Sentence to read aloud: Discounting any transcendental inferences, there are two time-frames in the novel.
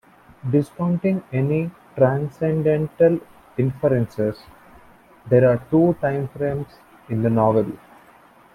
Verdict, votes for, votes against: accepted, 2, 1